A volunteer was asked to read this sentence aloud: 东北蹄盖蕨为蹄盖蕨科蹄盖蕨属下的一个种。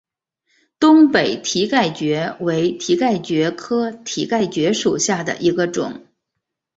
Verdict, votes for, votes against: accepted, 3, 2